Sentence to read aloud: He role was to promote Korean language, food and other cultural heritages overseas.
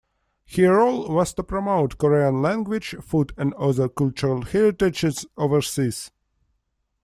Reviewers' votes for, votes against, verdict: 1, 2, rejected